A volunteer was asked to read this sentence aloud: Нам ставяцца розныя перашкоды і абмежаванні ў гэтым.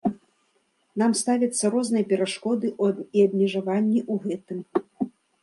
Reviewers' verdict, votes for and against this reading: rejected, 0, 2